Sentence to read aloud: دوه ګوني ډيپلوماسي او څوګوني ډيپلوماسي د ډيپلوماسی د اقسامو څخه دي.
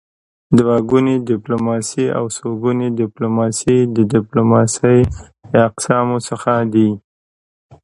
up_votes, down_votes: 2, 1